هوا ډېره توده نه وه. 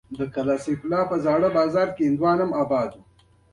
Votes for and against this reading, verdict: 2, 1, accepted